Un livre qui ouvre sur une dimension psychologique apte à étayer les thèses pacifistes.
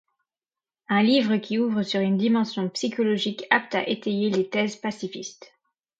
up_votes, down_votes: 2, 0